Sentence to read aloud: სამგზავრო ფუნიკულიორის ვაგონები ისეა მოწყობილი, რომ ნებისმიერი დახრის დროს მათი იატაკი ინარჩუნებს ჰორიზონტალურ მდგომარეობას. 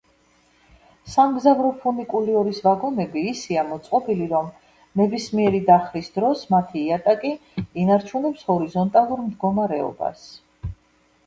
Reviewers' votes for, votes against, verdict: 2, 0, accepted